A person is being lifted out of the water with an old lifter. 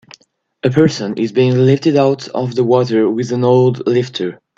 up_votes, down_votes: 2, 0